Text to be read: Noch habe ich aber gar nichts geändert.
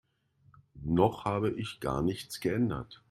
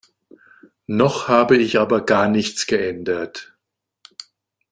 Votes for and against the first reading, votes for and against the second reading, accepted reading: 1, 2, 2, 0, second